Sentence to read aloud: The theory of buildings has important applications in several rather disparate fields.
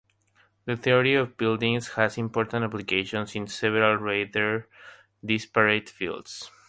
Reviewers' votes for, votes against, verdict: 3, 0, accepted